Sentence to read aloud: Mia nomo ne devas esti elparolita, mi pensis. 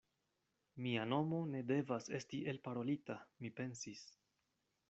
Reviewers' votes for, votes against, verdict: 2, 0, accepted